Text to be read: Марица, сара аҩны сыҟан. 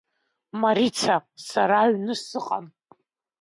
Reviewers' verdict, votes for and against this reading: rejected, 0, 2